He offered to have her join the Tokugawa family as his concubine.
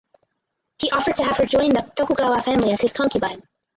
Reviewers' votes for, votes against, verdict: 2, 2, rejected